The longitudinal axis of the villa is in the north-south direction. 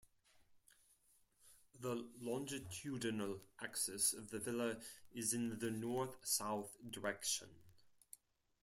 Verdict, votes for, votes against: rejected, 2, 4